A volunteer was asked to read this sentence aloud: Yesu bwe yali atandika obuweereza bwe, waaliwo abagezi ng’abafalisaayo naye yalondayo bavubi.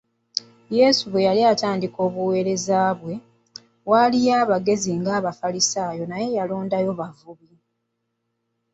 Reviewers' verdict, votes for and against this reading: accepted, 2, 1